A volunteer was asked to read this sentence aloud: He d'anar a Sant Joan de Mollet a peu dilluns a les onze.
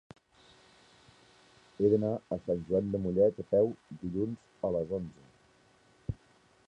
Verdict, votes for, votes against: rejected, 0, 2